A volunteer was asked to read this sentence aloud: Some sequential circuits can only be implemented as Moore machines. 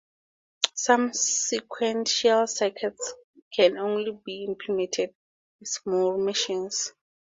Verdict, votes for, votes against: rejected, 6, 6